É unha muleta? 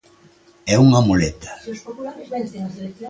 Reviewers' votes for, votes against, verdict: 1, 2, rejected